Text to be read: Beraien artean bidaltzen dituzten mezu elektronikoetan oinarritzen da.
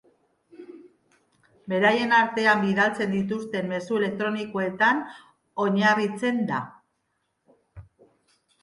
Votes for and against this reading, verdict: 2, 0, accepted